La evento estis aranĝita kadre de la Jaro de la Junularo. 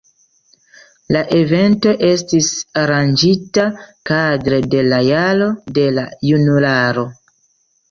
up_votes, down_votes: 2, 0